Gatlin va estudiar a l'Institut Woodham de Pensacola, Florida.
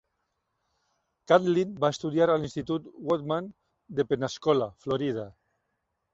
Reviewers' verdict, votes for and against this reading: rejected, 0, 2